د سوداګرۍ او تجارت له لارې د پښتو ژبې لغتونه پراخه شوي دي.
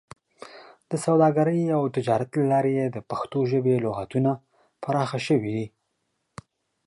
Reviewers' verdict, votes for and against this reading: accepted, 2, 0